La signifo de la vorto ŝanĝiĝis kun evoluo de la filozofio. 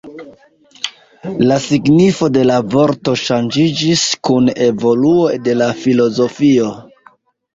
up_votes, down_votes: 2, 0